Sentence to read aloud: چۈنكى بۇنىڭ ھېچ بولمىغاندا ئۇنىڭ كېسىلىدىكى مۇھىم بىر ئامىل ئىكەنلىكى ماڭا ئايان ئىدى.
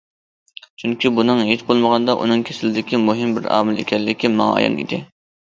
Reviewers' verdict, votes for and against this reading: accepted, 2, 0